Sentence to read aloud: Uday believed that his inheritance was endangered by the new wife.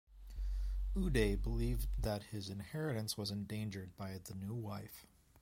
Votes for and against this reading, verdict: 2, 1, accepted